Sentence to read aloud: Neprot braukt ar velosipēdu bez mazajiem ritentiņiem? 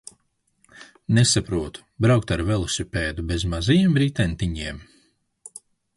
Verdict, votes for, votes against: rejected, 0, 2